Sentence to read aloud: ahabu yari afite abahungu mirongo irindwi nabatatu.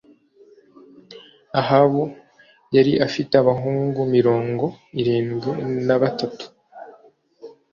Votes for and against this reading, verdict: 2, 0, accepted